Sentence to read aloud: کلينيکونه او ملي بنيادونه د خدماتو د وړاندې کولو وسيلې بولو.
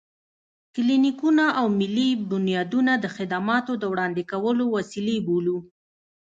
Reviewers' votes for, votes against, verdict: 2, 0, accepted